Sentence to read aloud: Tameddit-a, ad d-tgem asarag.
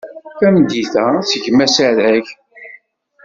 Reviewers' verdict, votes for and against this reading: rejected, 0, 2